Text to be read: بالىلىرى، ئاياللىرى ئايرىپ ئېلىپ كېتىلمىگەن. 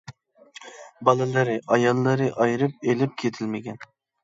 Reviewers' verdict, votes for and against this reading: accepted, 2, 0